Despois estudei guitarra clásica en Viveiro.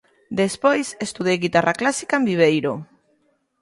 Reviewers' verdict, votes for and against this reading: accepted, 2, 0